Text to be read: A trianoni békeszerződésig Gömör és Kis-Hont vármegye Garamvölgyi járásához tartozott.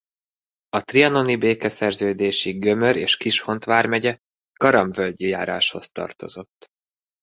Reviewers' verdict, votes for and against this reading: rejected, 1, 2